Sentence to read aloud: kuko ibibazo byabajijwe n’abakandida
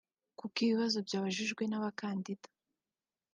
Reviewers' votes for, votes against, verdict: 2, 0, accepted